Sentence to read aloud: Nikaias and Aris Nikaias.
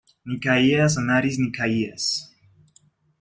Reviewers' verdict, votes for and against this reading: accepted, 2, 0